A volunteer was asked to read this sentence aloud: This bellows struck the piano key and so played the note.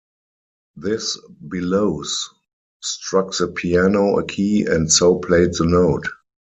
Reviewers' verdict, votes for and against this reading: rejected, 2, 4